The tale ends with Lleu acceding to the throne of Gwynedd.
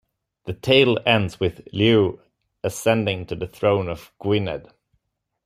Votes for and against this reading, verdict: 1, 2, rejected